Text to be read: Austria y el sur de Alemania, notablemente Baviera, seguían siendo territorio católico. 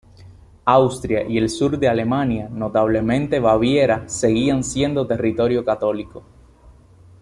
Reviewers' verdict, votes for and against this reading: accepted, 2, 0